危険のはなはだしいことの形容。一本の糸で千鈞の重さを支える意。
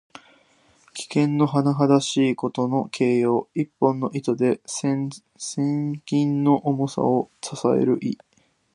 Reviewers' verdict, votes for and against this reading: rejected, 1, 2